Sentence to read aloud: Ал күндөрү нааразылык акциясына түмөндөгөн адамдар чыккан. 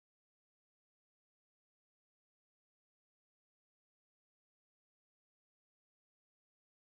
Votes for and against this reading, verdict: 1, 2, rejected